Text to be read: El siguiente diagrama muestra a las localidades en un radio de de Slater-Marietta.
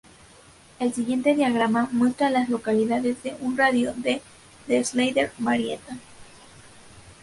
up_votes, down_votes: 2, 2